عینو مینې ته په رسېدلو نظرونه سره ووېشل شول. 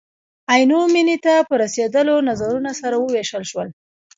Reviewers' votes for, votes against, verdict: 2, 1, accepted